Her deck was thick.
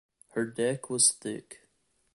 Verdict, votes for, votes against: accepted, 2, 0